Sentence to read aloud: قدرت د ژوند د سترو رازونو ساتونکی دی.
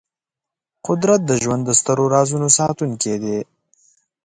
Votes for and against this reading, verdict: 4, 0, accepted